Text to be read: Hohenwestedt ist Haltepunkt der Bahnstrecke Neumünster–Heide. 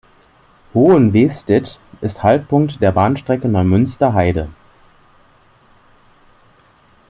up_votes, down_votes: 0, 2